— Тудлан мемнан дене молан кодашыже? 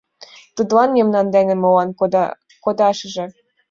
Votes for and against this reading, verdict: 0, 2, rejected